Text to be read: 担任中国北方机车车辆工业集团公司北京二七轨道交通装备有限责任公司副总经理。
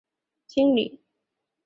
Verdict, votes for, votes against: rejected, 0, 3